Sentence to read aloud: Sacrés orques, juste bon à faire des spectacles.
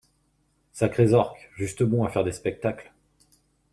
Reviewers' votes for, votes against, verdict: 2, 0, accepted